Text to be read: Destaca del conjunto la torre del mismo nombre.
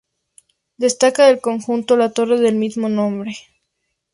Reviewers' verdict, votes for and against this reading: accepted, 2, 0